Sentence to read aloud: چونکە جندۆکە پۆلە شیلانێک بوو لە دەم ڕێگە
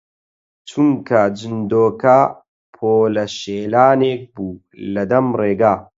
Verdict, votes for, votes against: rejected, 0, 4